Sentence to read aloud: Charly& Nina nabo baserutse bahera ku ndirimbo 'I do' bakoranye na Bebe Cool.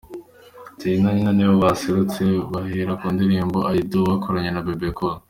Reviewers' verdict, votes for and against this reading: accepted, 2, 0